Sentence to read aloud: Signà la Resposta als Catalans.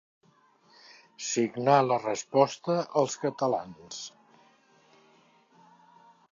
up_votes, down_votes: 2, 0